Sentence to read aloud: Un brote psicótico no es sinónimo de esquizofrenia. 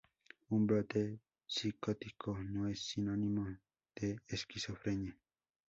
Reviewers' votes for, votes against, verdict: 4, 0, accepted